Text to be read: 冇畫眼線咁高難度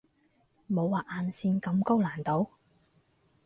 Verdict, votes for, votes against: accepted, 4, 0